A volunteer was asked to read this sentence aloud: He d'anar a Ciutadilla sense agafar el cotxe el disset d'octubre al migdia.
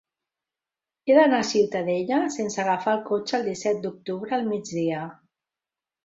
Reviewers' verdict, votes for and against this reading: rejected, 0, 2